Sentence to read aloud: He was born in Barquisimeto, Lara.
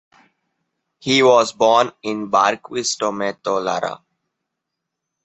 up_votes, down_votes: 2, 0